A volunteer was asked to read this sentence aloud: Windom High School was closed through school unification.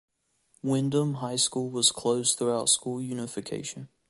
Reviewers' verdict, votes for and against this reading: accepted, 2, 0